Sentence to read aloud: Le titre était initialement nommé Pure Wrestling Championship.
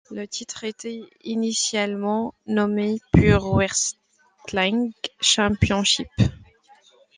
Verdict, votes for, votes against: rejected, 1, 2